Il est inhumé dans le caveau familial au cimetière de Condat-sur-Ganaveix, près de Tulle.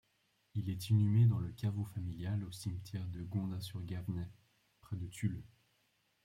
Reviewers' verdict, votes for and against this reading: rejected, 0, 2